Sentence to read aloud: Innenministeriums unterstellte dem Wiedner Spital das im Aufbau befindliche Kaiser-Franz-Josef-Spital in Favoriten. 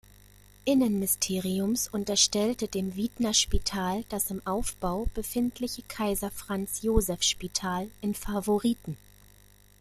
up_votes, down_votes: 1, 2